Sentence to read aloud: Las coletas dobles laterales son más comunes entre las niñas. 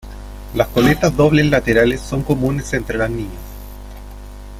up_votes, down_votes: 0, 3